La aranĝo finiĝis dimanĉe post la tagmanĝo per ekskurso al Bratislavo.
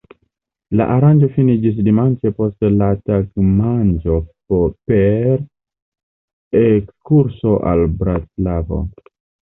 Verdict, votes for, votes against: rejected, 0, 2